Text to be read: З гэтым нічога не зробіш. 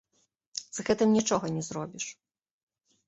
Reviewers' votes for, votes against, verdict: 2, 0, accepted